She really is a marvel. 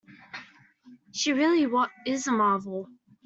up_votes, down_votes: 0, 2